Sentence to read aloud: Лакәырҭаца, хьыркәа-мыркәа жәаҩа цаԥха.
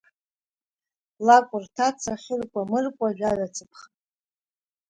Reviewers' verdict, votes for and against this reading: accepted, 3, 1